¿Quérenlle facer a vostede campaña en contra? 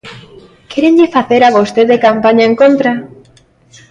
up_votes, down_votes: 2, 0